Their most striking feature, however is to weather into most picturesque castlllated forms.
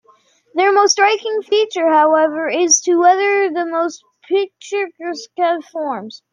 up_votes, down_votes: 1, 3